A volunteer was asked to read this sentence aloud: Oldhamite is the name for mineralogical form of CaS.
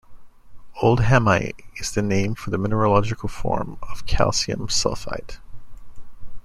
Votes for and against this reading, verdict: 0, 2, rejected